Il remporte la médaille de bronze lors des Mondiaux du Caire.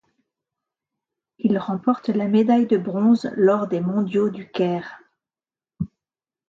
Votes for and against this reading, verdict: 2, 0, accepted